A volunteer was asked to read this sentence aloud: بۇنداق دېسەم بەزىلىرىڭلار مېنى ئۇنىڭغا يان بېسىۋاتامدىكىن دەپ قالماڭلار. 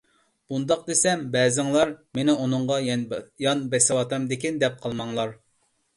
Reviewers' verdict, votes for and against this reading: rejected, 0, 2